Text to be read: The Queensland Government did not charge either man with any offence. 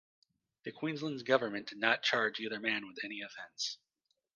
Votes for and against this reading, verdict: 1, 2, rejected